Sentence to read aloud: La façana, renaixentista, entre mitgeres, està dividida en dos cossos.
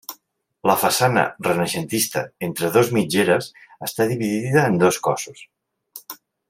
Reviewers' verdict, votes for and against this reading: rejected, 0, 2